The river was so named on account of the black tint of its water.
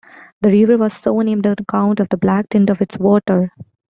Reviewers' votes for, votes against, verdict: 2, 0, accepted